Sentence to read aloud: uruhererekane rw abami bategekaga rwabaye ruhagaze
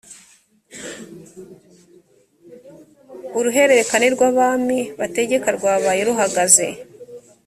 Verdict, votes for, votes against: rejected, 1, 2